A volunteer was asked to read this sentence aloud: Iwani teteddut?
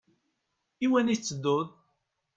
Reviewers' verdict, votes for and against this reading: accepted, 2, 0